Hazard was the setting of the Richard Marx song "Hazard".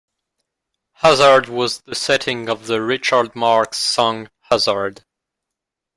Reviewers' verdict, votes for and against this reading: accepted, 2, 1